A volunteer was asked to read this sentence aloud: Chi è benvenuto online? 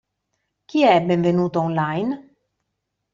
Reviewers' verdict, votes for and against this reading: accepted, 2, 0